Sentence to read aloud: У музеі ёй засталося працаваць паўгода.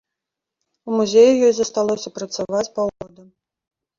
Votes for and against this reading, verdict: 1, 2, rejected